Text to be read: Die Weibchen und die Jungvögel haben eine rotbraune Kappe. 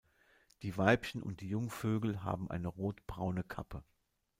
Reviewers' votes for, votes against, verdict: 2, 0, accepted